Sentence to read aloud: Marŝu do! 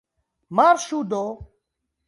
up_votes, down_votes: 2, 1